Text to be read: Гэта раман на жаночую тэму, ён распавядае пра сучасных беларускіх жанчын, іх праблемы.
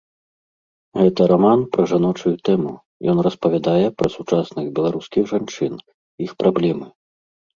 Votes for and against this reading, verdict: 1, 2, rejected